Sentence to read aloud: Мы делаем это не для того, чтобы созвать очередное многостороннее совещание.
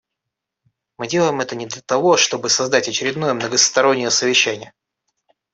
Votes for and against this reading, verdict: 2, 1, accepted